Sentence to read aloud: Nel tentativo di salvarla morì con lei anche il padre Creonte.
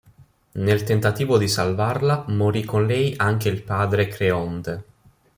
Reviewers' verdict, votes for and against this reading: accepted, 2, 0